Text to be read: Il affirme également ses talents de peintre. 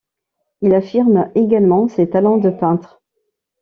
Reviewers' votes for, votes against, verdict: 2, 0, accepted